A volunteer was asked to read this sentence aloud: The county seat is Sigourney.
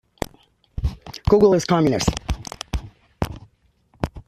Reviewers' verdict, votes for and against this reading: rejected, 0, 2